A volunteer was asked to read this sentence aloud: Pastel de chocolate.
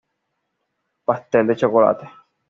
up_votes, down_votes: 2, 1